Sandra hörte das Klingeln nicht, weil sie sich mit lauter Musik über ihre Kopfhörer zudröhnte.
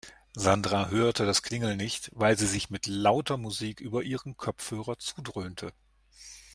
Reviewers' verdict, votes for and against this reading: rejected, 1, 2